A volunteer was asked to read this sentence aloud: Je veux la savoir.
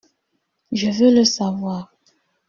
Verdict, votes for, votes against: rejected, 0, 2